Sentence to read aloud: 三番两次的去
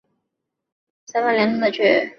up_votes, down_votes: 7, 0